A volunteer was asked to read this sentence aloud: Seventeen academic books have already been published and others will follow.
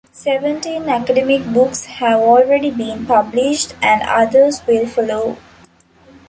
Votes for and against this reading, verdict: 2, 0, accepted